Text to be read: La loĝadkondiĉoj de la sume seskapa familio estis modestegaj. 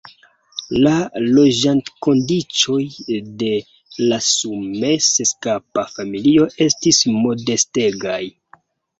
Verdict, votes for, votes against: rejected, 0, 2